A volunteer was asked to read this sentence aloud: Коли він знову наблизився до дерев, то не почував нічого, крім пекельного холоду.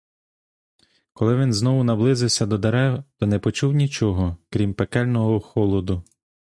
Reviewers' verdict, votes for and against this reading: rejected, 1, 2